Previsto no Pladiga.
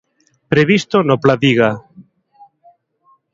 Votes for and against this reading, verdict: 3, 0, accepted